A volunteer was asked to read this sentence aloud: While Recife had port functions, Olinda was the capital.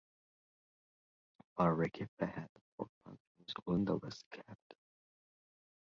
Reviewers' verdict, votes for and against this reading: rejected, 0, 2